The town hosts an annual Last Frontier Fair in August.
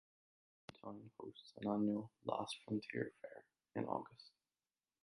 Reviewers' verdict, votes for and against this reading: accepted, 2, 1